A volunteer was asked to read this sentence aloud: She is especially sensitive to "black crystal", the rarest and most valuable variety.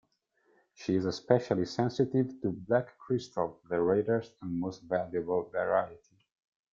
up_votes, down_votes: 0, 2